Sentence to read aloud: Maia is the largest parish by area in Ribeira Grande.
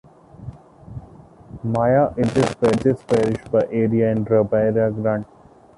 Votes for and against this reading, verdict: 0, 2, rejected